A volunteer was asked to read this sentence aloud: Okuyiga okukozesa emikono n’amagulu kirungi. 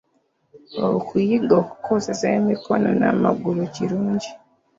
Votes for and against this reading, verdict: 2, 0, accepted